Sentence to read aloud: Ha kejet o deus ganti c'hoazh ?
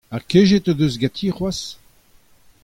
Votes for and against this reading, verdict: 2, 0, accepted